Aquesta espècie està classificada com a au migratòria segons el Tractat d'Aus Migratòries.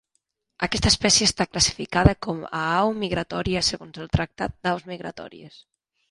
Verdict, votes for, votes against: accepted, 3, 0